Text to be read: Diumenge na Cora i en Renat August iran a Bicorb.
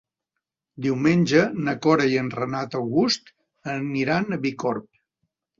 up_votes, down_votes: 1, 2